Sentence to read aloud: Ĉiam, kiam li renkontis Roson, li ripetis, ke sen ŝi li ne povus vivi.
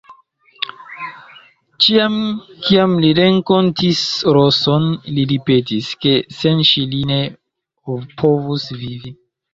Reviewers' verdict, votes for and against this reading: rejected, 0, 2